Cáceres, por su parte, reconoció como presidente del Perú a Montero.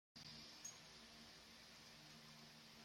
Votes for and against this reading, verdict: 0, 2, rejected